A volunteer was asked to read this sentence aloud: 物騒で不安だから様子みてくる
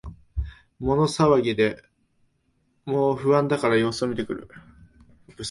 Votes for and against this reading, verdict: 1, 2, rejected